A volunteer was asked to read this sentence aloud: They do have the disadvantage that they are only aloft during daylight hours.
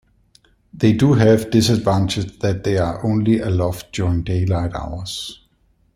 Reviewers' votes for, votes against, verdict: 1, 2, rejected